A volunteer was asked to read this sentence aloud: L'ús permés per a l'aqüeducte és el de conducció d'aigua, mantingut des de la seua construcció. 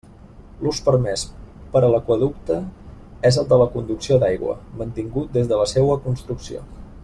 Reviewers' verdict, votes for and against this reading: rejected, 1, 2